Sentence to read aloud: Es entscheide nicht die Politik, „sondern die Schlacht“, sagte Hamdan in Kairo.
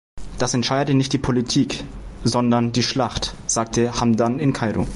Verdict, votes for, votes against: rejected, 0, 2